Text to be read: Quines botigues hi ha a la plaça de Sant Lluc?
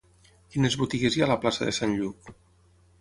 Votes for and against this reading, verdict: 6, 0, accepted